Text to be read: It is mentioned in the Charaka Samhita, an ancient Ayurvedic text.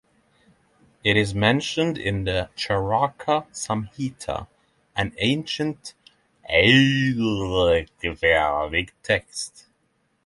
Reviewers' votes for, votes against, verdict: 0, 3, rejected